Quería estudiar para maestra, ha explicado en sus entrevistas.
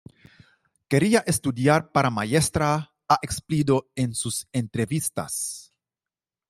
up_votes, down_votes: 0, 2